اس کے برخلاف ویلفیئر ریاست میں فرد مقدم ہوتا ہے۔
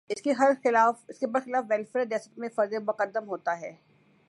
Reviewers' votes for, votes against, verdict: 1, 2, rejected